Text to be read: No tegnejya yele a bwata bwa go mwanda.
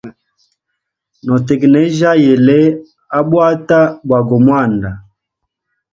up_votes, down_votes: 2, 0